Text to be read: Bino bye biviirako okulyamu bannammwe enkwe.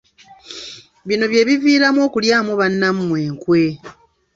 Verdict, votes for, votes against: rejected, 0, 2